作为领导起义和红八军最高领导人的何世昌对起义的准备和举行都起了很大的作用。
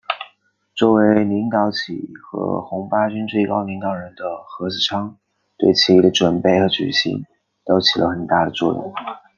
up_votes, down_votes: 2, 0